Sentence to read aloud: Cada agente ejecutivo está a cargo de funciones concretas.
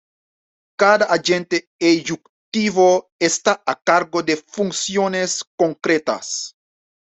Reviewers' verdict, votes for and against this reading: rejected, 1, 2